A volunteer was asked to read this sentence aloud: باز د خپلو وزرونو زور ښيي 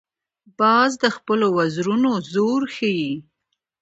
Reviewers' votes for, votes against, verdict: 2, 0, accepted